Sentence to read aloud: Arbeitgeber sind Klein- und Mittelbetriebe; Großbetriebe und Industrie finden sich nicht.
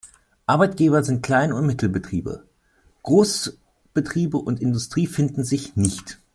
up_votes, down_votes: 1, 2